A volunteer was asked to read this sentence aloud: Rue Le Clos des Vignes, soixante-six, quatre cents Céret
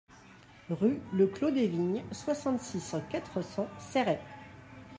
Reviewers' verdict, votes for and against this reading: rejected, 0, 2